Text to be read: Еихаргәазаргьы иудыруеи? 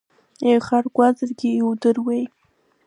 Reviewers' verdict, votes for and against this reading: accepted, 2, 0